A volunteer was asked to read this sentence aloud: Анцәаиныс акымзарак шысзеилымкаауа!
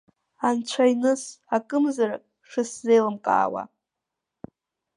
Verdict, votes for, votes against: accepted, 2, 0